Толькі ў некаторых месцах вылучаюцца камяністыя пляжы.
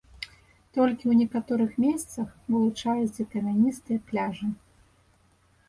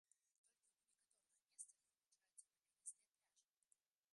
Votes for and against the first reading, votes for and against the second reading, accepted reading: 2, 0, 0, 2, first